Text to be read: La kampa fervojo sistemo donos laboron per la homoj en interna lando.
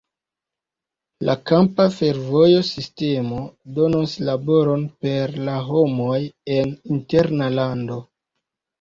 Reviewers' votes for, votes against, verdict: 1, 2, rejected